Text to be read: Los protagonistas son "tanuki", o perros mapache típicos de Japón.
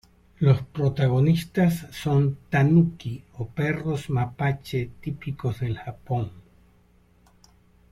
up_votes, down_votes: 0, 2